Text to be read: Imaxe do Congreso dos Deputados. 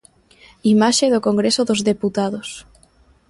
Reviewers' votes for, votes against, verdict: 3, 0, accepted